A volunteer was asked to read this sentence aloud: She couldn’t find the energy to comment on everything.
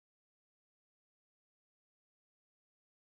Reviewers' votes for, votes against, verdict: 0, 3, rejected